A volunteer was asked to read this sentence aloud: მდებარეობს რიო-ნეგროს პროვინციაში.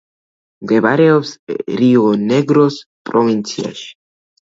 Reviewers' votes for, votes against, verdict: 1, 2, rejected